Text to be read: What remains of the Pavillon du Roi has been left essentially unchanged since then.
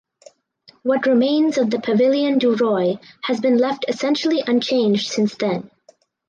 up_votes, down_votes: 4, 0